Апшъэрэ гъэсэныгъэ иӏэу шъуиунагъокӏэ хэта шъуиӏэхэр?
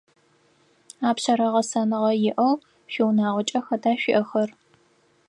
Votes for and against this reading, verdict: 4, 0, accepted